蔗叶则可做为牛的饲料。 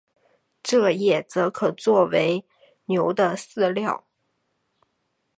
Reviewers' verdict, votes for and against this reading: accepted, 2, 0